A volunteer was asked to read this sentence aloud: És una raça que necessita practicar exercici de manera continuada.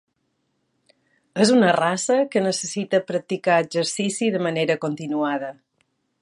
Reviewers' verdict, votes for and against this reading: accepted, 3, 0